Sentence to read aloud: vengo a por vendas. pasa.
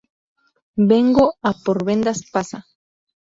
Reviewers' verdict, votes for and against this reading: accepted, 4, 0